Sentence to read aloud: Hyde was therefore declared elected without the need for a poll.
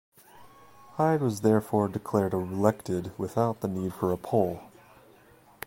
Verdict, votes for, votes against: rejected, 0, 2